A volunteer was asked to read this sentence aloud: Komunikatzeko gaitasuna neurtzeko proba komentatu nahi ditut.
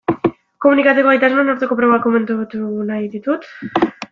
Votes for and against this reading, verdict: 0, 2, rejected